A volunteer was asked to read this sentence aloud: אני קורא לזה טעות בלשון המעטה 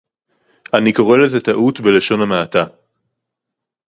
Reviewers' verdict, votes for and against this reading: rejected, 2, 2